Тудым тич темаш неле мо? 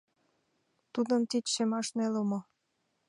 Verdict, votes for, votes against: rejected, 0, 2